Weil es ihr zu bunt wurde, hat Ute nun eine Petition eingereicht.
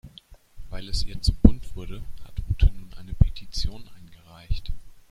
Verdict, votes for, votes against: rejected, 1, 2